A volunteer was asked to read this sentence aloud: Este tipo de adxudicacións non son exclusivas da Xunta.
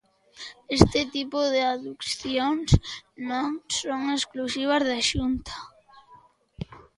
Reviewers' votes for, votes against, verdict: 0, 2, rejected